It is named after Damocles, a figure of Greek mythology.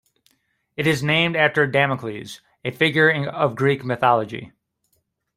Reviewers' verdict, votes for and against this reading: rejected, 1, 2